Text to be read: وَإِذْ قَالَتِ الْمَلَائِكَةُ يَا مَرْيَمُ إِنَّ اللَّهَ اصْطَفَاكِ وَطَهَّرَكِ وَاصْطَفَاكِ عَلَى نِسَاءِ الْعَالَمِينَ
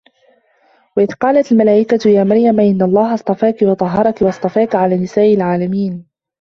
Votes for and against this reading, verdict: 0, 2, rejected